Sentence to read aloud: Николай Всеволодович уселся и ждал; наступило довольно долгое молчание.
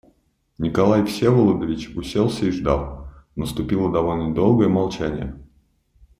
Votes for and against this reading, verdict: 2, 0, accepted